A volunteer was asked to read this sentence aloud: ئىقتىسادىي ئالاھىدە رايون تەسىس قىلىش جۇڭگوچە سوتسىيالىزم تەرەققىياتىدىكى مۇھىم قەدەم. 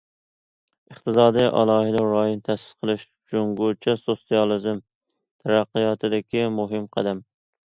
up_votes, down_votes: 2, 0